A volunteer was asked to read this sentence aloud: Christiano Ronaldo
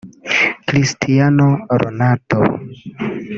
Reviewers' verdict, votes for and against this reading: rejected, 1, 2